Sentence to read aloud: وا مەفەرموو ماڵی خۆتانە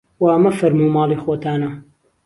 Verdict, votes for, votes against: accepted, 2, 0